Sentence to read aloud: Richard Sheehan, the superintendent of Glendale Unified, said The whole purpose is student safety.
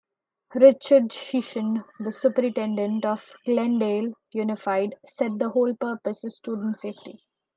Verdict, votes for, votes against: rejected, 0, 2